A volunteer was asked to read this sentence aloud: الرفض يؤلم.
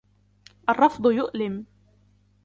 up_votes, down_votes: 2, 1